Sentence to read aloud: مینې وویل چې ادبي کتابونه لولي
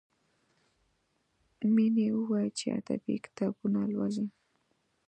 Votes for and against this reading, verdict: 2, 0, accepted